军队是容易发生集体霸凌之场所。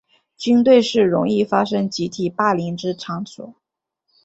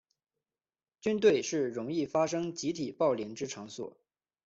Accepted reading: first